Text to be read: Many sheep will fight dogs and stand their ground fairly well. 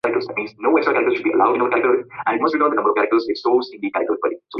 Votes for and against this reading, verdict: 0, 2, rejected